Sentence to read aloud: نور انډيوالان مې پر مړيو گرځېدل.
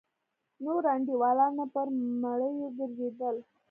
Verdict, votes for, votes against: accepted, 2, 1